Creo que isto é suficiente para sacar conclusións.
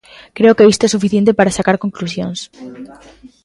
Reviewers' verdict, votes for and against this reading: rejected, 0, 2